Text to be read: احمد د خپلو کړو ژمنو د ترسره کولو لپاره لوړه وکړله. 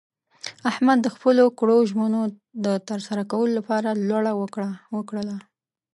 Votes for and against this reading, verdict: 2, 0, accepted